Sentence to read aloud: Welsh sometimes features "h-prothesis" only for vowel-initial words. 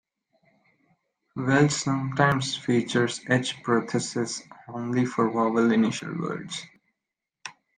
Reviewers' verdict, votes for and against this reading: accepted, 2, 1